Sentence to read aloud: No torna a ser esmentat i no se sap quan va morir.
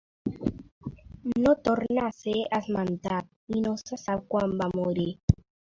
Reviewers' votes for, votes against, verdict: 2, 0, accepted